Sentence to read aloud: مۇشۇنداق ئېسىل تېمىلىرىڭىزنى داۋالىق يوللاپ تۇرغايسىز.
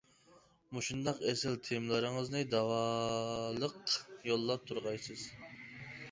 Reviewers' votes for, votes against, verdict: 1, 2, rejected